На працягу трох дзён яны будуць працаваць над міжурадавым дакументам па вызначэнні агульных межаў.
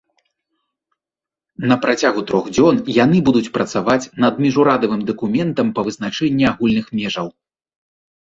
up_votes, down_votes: 2, 0